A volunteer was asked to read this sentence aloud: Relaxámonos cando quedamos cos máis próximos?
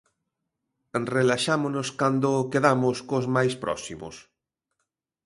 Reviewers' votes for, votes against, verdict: 2, 0, accepted